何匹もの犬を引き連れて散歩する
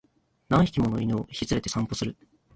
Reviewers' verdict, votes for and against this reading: rejected, 2, 3